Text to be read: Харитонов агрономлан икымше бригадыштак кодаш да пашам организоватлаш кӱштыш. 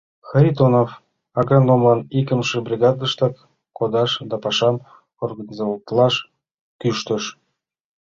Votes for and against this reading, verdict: 2, 0, accepted